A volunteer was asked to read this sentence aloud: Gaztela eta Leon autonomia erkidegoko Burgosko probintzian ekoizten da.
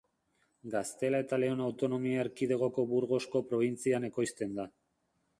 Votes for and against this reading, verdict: 2, 0, accepted